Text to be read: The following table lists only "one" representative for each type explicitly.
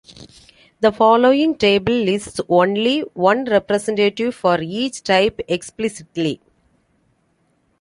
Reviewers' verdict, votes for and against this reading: accepted, 3, 0